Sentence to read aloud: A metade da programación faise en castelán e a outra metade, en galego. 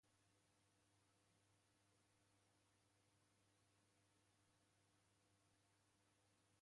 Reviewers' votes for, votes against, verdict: 0, 2, rejected